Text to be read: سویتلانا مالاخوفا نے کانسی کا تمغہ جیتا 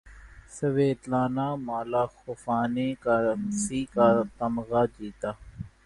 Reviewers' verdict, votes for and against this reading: accepted, 3, 2